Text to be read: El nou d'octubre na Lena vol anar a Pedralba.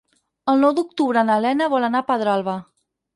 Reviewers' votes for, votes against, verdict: 6, 0, accepted